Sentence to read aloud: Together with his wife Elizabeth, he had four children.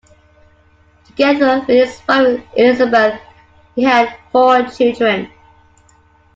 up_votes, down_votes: 0, 2